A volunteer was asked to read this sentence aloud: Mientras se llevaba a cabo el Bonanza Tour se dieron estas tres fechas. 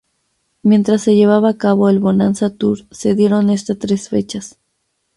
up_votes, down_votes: 0, 2